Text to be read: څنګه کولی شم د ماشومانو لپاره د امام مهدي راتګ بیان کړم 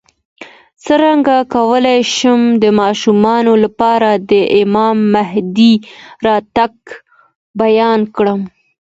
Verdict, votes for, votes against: accepted, 2, 0